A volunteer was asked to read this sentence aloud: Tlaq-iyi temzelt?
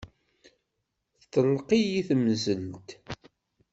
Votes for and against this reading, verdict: 1, 2, rejected